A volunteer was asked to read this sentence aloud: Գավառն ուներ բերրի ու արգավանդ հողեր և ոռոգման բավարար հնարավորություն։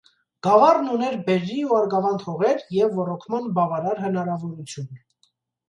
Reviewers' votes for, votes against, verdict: 2, 0, accepted